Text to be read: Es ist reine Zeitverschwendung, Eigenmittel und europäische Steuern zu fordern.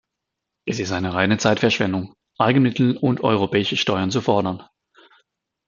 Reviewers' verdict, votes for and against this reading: accepted, 2, 0